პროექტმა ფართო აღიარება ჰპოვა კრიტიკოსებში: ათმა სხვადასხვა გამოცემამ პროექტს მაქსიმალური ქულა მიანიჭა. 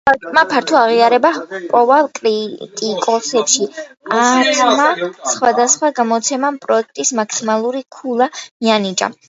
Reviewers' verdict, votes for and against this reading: rejected, 0, 2